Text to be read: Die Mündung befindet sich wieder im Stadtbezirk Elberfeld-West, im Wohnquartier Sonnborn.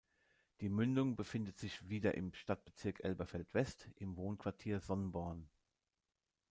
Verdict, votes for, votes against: accepted, 2, 1